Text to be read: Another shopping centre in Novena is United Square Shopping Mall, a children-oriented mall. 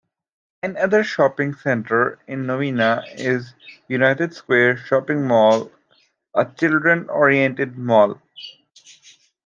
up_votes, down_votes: 2, 0